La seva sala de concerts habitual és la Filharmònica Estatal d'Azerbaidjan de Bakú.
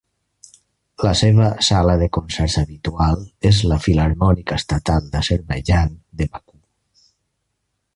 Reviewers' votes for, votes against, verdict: 1, 2, rejected